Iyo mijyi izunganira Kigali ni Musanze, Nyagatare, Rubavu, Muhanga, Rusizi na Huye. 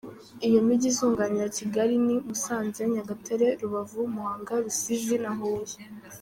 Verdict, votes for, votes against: rejected, 0, 2